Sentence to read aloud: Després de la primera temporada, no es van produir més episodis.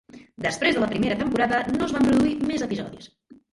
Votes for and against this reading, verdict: 1, 2, rejected